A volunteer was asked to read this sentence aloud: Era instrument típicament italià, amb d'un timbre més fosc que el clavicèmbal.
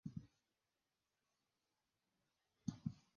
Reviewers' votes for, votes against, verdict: 0, 2, rejected